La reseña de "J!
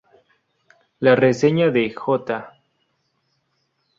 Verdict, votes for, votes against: rejected, 2, 2